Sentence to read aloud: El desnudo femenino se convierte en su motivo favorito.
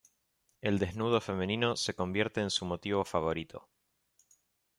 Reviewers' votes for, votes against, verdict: 2, 0, accepted